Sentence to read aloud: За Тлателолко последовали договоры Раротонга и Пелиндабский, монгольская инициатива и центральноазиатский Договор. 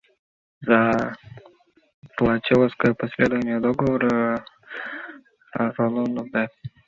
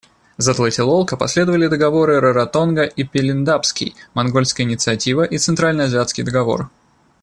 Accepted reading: second